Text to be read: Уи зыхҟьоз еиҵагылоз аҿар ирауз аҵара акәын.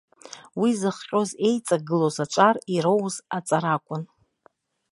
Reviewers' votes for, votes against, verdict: 2, 1, accepted